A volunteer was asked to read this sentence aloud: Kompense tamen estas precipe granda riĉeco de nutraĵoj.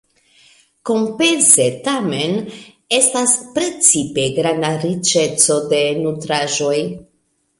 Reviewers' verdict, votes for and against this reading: rejected, 0, 2